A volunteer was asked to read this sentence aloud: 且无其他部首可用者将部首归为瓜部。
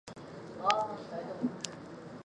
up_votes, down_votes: 0, 3